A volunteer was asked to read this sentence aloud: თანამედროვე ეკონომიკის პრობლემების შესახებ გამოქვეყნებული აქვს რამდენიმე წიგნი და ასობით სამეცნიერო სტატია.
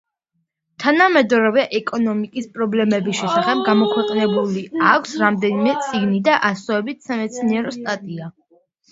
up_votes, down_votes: 1, 2